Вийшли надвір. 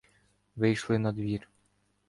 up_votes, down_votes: 2, 0